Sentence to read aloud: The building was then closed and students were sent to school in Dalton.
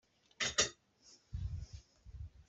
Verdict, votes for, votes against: rejected, 0, 2